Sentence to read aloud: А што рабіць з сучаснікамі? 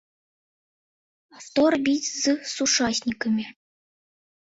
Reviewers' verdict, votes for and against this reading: rejected, 0, 2